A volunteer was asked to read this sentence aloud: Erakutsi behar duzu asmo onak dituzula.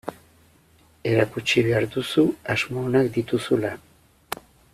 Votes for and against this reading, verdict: 2, 0, accepted